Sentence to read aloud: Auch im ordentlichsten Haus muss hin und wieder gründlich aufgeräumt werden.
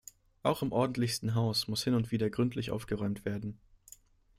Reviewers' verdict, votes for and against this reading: accepted, 2, 0